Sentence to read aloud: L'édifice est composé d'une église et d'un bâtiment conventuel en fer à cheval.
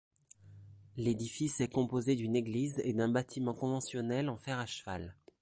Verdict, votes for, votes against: rejected, 0, 2